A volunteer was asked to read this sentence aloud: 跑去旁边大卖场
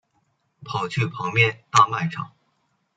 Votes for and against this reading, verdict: 2, 0, accepted